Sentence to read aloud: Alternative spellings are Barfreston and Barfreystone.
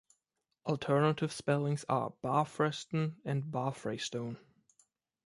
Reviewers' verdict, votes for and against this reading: rejected, 1, 2